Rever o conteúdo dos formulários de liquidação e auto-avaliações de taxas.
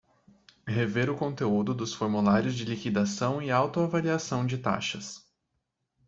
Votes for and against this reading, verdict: 1, 2, rejected